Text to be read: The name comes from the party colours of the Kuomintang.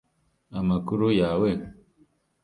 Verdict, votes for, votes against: rejected, 0, 2